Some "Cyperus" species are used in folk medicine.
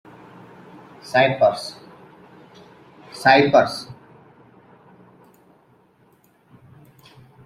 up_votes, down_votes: 0, 2